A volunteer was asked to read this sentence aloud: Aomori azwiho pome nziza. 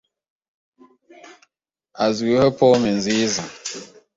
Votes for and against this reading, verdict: 0, 2, rejected